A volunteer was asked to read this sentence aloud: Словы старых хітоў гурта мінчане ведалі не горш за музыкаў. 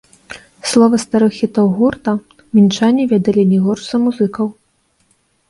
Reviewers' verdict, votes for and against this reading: rejected, 1, 2